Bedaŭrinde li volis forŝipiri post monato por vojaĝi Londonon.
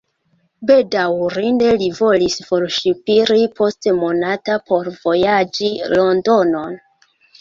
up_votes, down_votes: 2, 1